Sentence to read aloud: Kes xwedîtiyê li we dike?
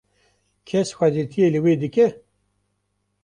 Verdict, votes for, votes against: accepted, 2, 0